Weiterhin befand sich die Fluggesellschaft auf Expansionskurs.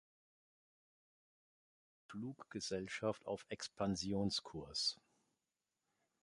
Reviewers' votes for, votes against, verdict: 0, 2, rejected